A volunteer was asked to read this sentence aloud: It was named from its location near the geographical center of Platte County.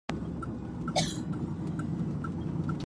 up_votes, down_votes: 0, 2